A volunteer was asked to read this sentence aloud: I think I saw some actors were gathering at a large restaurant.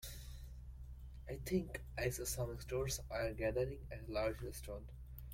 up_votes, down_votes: 0, 2